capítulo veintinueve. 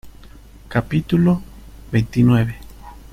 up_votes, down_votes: 0, 2